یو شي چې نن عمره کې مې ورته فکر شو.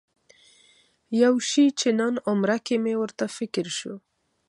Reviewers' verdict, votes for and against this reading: rejected, 1, 2